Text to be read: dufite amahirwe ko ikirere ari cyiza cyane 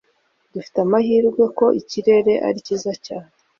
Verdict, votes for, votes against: accepted, 2, 0